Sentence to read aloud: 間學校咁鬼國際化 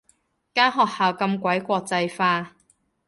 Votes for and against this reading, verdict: 2, 0, accepted